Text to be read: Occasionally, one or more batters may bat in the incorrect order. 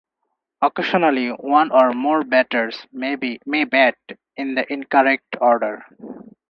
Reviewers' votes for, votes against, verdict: 0, 4, rejected